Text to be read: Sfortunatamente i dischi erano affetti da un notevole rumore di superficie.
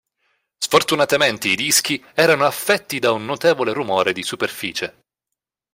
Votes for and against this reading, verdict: 2, 0, accepted